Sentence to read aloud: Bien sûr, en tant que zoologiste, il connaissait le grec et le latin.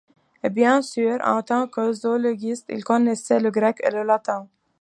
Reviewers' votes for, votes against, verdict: 2, 0, accepted